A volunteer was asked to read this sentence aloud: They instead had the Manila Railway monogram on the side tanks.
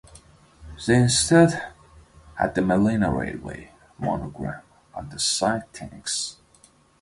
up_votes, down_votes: 1, 2